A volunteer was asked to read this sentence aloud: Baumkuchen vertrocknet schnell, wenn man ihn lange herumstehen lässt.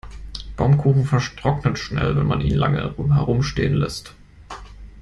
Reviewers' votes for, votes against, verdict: 0, 2, rejected